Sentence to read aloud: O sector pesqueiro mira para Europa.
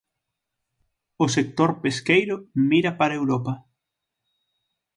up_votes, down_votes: 6, 0